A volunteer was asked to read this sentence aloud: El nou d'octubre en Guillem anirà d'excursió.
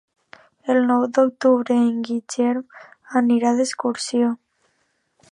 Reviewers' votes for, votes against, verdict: 0, 2, rejected